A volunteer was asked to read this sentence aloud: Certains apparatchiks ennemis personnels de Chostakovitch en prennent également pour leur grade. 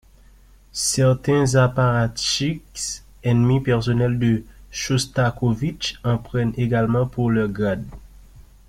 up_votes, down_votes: 1, 2